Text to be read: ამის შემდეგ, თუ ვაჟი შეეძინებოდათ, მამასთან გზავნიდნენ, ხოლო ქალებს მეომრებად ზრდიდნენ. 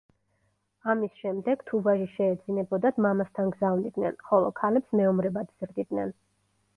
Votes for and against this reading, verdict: 2, 0, accepted